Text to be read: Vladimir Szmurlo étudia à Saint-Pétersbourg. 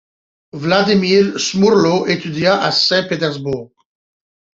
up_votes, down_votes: 2, 0